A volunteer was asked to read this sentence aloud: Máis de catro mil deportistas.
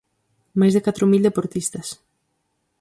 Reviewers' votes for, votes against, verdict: 4, 0, accepted